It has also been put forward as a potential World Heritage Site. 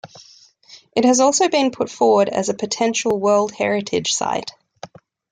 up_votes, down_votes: 2, 0